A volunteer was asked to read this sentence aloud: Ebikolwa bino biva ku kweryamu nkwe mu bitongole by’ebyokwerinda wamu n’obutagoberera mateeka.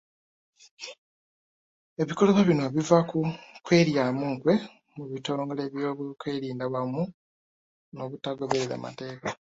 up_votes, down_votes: 1, 2